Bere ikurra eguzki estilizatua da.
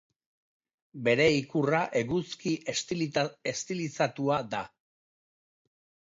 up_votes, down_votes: 0, 3